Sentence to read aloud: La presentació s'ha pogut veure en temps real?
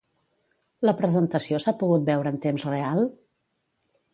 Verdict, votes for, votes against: accepted, 2, 0